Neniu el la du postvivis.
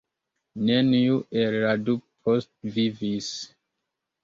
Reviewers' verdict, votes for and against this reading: accepted, 2, 0